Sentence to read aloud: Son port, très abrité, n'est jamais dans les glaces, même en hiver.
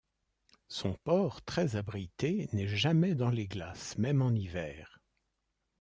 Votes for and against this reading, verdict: 2, 0, accepted